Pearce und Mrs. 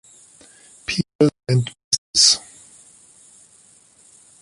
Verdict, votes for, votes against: rejected, 0, 2